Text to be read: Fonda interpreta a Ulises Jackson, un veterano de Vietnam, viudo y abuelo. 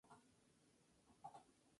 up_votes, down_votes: 0, 4